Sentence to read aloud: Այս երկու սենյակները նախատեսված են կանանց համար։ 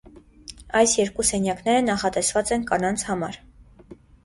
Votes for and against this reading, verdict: 2, 0, accepted